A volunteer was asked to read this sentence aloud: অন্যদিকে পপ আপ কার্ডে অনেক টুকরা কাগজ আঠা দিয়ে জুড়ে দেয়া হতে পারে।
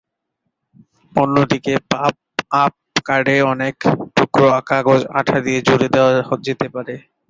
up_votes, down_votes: 3, 15